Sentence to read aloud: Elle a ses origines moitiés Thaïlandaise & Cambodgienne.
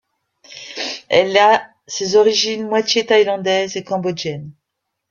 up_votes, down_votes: 2, 0